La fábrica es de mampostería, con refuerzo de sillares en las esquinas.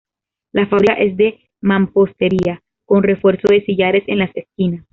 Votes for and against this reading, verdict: 1, 2, rejected